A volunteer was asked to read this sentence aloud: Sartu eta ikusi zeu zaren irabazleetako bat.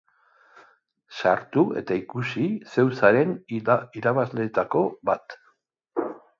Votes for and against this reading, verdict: 1, 2, rejected